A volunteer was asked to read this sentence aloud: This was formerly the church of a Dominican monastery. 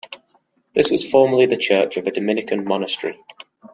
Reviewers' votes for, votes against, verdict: 2, 0, accepted